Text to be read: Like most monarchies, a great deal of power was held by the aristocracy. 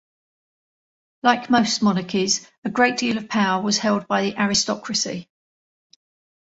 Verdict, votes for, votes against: rejected, 1, 2